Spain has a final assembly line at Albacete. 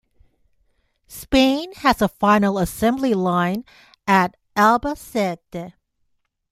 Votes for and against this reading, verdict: 2, 0, accepted